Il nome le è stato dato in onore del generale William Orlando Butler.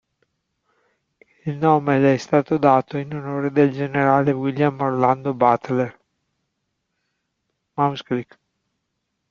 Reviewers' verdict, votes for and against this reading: rejected, 0, 2